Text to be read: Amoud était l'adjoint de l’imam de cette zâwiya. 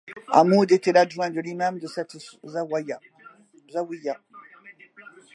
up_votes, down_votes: 2, 1